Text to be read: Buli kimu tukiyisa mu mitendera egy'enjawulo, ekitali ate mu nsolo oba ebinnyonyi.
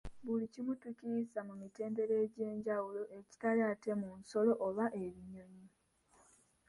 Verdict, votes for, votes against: accepted, 2, 1